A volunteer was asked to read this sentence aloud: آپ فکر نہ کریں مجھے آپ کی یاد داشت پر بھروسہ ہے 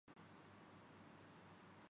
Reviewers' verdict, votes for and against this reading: rejected, 0, 2